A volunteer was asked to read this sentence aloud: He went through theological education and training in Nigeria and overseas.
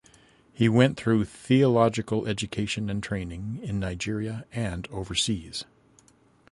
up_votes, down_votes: 2, 0